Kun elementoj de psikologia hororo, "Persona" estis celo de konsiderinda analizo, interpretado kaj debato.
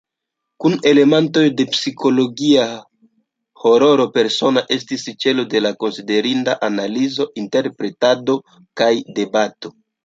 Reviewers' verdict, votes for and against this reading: rejected, 1, 2